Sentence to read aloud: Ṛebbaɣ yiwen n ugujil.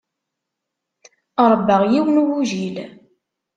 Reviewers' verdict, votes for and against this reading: accepted, 2, 0